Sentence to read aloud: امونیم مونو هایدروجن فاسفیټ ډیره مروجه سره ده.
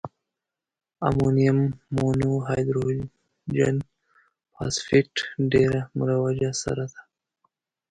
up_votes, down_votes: 0, 2